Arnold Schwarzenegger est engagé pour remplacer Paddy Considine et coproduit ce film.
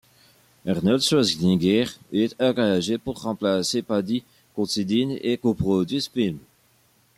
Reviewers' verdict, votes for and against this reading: rejected, 1, 2